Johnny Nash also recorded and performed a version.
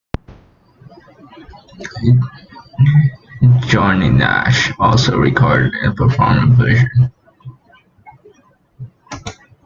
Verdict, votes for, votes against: rejected, 0, 2